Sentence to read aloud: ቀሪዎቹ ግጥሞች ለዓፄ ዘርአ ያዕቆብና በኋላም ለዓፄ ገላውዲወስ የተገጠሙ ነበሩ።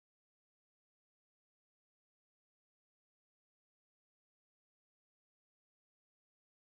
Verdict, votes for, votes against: rejected, 0, 2